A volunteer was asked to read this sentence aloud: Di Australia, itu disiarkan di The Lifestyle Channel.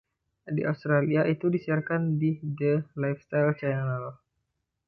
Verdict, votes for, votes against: rejected, 1, 2